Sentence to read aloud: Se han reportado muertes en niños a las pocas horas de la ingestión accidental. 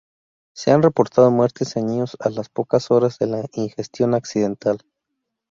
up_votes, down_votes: 2, 0